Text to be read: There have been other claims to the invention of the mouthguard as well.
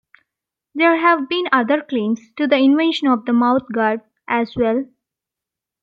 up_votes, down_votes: 2, 0